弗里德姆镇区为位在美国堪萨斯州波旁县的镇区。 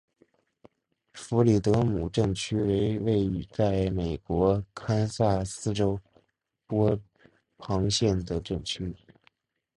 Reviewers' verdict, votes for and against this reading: accepted, 2, 1